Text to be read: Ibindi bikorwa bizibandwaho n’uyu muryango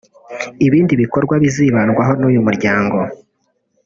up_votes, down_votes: 2, 0